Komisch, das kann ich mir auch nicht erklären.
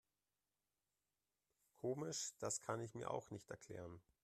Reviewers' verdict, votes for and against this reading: accepted, 2, 0